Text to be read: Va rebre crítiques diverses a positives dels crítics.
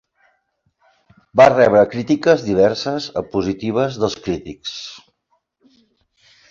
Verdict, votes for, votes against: accepted, 6, 0